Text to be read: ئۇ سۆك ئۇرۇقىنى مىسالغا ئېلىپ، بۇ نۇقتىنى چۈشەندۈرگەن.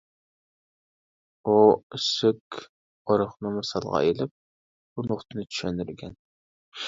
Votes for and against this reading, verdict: 1, 2, rejected